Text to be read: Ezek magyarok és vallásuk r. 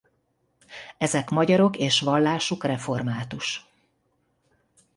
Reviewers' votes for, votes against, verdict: 1, 2, rejected